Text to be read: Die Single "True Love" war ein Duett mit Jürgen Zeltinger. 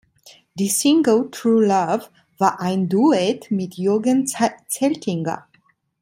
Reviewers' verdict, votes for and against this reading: rejected, 1, 2